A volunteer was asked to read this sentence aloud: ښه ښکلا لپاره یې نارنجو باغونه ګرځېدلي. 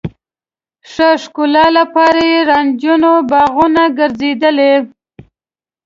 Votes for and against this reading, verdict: 1, 2, rejected